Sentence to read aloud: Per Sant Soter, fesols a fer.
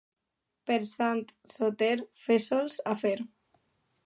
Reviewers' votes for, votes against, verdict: 1, 2, rejected